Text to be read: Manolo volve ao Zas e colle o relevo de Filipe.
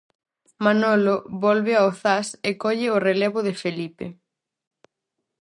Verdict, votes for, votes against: rejected, 2, 2